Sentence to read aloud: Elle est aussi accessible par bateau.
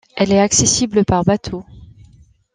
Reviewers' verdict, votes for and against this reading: rejected, 1, 2